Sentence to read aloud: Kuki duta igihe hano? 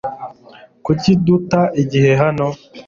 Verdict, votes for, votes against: accepted, 2, 0